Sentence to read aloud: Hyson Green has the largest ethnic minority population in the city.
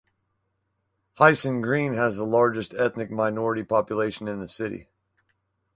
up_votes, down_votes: 4, 0